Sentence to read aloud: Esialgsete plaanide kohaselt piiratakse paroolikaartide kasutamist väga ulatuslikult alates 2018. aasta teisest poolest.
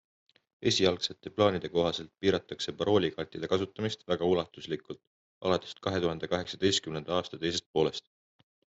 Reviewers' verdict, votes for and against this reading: rejected, 0, 2